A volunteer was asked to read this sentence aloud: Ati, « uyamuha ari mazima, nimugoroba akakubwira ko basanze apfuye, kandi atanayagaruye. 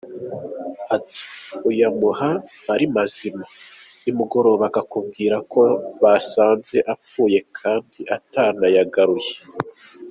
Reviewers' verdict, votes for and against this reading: accepted, 2, 0